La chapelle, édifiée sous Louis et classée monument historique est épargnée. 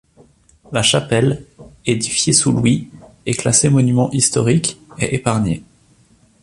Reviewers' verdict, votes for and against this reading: accepted, 2, 0